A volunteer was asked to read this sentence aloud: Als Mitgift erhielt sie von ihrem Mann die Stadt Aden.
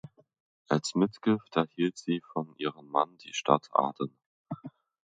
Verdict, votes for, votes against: rejected, 1, 2